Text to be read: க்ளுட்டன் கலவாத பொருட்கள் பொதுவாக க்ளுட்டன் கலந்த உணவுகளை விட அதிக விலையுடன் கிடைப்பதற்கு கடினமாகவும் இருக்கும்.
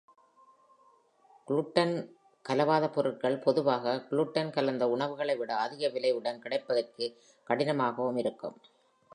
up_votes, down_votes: 2, 0